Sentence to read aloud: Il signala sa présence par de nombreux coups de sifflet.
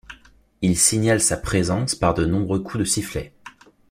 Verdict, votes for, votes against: rejected, 0, 2